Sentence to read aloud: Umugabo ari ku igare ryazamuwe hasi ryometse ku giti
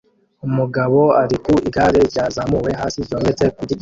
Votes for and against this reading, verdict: 0, 2, rejected